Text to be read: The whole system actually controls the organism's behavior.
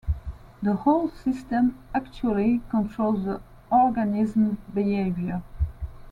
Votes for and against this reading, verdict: 2, 0, accepted